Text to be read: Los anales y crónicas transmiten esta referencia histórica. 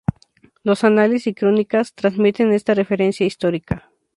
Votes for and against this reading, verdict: 2, 0, accepted